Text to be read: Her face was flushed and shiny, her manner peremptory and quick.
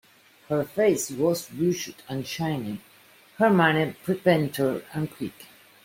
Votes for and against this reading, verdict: 0, 2, rejected